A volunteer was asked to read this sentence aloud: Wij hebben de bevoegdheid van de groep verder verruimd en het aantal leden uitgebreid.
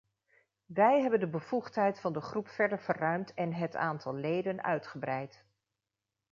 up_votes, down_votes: 2, 0